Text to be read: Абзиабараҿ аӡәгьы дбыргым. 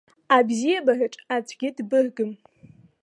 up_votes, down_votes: 2, 0